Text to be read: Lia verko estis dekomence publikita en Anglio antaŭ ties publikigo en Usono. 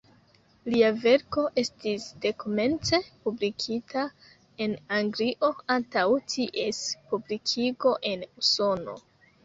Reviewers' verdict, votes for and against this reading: accepted, 2, 0